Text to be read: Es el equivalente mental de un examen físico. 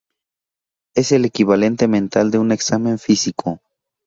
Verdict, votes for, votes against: rejected, 2, 2